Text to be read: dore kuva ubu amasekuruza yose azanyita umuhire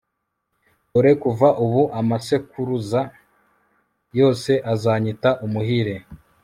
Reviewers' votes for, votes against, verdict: 1, 2, rejected